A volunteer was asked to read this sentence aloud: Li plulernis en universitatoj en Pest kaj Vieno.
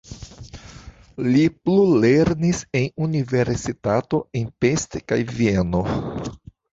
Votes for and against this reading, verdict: 1, 2, rejected